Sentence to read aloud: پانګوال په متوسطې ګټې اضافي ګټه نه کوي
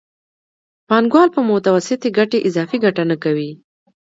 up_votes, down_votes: 2, 0